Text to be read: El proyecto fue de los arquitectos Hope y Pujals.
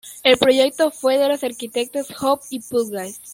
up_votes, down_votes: 0, 2